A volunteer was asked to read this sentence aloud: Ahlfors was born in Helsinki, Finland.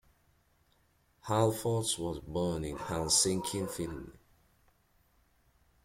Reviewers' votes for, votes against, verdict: 2, 1, accepted